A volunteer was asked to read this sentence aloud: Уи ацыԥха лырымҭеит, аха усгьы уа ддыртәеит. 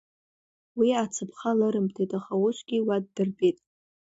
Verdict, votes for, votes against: accepted, 2, 0